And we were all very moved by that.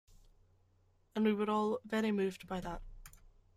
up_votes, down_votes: 2, 0